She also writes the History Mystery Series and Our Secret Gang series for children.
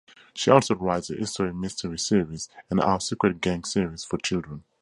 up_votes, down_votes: 4, 2